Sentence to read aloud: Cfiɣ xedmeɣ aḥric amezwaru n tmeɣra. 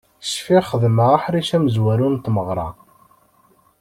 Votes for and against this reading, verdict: 2, 0, accepted